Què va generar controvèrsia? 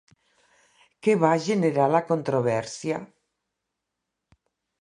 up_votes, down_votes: 0, 2